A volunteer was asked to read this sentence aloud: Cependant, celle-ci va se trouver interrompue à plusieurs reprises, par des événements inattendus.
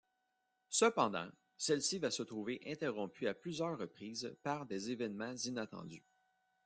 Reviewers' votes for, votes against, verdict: 2, 0, accepted